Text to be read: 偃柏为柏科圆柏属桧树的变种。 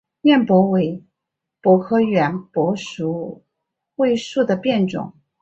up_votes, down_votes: 4, 0